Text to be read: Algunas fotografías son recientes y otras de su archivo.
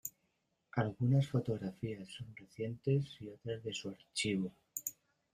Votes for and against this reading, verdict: 2, 0, accepted